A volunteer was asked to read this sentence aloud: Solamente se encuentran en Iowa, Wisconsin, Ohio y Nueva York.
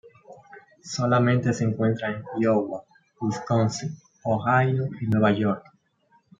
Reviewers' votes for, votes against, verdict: 1, 2, rejected